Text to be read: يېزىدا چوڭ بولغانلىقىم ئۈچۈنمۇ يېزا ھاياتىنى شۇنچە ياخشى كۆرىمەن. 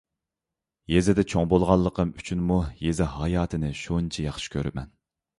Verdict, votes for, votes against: accepted, 2, 0